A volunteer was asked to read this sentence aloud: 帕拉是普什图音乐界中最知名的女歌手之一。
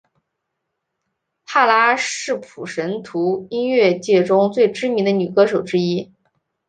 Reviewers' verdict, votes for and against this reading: accepted, 2, 0